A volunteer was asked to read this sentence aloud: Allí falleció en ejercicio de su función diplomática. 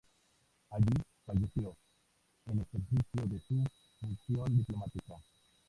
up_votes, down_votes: 0, 4